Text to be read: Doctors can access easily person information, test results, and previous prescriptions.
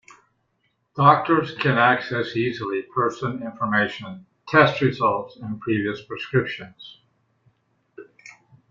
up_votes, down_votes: 2, 0